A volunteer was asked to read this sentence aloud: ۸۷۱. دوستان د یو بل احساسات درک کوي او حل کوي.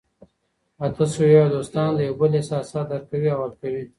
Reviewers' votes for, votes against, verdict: 0, 2, rejected